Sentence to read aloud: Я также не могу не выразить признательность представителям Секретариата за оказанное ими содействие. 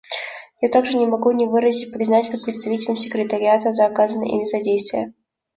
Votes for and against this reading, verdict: 2, 0, accepted